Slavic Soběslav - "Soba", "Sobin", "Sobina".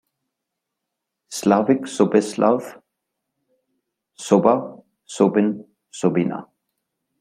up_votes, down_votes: 2, 0